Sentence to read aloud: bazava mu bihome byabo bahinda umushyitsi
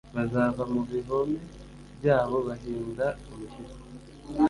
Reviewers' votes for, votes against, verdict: 0, 2, rejected